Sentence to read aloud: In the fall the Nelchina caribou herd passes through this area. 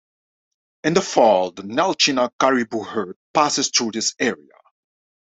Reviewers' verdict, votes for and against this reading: rejected, 0, 2